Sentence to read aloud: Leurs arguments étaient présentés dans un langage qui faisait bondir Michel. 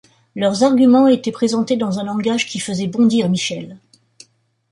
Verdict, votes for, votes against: accepted, 2, 0